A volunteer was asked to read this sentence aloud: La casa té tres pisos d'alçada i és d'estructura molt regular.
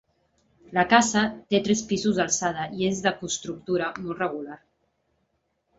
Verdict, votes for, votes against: rejected, 1, 3